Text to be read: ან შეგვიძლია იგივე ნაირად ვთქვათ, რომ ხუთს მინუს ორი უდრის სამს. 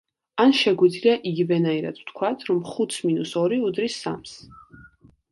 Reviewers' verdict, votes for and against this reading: accepted, 2, 0